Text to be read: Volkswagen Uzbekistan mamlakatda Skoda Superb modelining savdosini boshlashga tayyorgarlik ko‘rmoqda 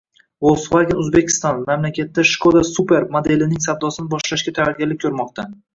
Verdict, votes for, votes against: rejected, 1, 2